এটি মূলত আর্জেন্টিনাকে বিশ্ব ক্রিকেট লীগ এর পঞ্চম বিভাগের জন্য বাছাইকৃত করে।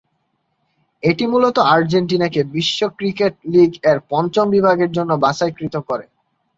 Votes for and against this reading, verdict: 2, 0, accepted